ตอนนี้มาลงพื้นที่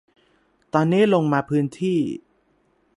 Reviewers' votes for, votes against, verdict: 0, 3, rejected